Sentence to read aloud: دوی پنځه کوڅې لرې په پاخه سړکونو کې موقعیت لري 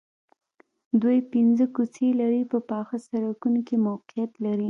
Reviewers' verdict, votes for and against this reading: accepted, 2, 0